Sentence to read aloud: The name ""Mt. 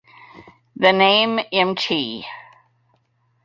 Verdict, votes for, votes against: rejected, 0, 2